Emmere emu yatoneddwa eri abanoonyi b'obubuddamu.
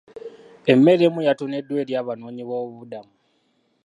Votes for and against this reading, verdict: 2, 0, accepted